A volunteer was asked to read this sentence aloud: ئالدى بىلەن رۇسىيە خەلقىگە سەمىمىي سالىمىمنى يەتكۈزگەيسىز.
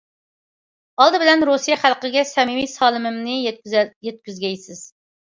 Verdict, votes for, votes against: rejected, 1, 2